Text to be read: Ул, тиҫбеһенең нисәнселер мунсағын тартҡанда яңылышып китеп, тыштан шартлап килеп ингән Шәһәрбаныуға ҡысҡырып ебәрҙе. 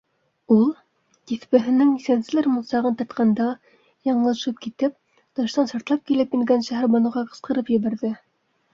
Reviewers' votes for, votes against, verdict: 2, 0, accepted